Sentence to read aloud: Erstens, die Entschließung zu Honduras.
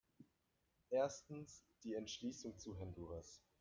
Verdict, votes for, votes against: accepted, 2, 0